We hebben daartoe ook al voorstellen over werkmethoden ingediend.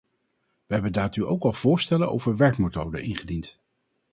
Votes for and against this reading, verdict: 0, 2, rejected